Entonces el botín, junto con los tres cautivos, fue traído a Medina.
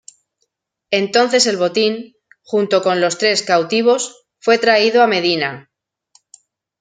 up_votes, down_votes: 2, 0